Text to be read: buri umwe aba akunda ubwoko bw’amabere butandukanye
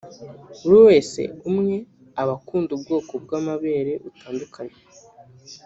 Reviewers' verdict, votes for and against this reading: rejected, 1, 2